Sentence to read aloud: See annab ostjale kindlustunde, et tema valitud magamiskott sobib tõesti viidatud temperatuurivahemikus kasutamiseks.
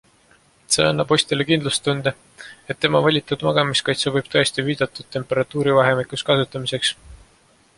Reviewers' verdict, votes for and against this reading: accepted, 2, 0